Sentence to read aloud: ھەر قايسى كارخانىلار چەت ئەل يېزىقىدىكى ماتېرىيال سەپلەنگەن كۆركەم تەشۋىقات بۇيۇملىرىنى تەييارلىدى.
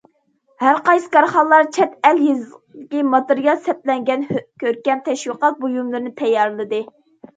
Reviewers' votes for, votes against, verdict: 2, 0, accepted